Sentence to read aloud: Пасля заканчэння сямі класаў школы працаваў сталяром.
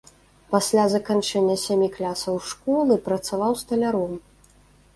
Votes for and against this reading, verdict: 1, 2, rejected